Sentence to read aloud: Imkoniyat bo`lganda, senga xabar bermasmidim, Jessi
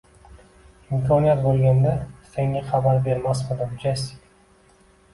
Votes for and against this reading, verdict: 1, 2, rejected